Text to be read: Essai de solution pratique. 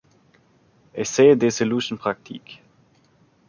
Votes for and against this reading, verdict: 0, 2, rejected